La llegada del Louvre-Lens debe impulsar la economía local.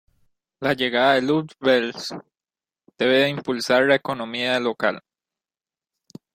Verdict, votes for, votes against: rejected, 0, 2